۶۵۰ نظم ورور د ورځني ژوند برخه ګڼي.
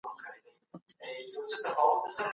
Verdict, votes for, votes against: rejected, 0, 2